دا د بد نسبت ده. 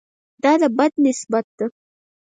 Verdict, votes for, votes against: rejected, 0, 4